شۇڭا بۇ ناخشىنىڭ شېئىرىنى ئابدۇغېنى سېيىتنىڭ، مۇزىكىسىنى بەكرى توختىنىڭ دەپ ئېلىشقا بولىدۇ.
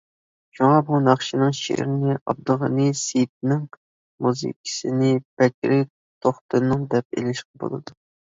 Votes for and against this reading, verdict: 2, 0, accepted